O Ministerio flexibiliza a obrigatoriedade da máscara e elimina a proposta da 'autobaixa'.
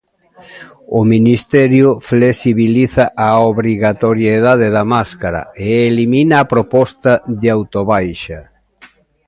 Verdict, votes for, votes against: rejected, 0, 2